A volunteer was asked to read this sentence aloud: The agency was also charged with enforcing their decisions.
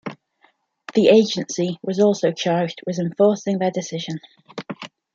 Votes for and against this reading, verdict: 1, 2, rejected